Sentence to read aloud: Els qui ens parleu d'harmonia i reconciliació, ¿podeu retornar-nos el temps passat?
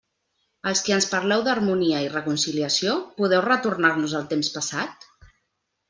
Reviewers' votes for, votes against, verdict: 2, 0, accepted